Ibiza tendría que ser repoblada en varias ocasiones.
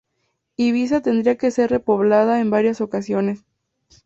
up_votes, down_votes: 4, 0